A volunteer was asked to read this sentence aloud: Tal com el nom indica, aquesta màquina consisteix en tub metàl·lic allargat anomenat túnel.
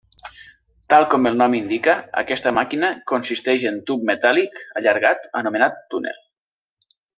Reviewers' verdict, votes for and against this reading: accepted, 3, 0